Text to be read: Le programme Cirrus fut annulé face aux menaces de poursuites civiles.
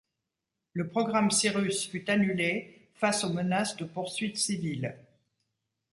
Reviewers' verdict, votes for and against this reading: accepted, 2, 0